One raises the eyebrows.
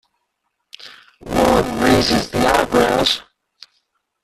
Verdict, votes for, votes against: rejected, 0, 2